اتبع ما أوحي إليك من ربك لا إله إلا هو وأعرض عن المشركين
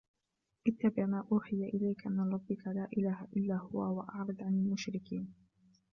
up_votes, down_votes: 1, 2